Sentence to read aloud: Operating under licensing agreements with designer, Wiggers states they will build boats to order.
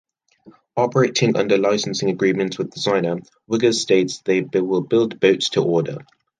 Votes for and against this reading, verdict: 1, 2, rejected